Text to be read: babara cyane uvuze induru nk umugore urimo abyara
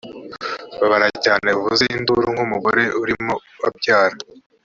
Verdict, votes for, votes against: accepted, 2, 0